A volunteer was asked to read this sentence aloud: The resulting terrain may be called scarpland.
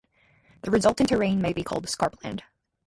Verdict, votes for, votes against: rejected, 2, 2